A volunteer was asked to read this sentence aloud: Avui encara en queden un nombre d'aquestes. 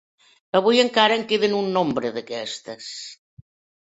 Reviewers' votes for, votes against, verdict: 2, 0, accepted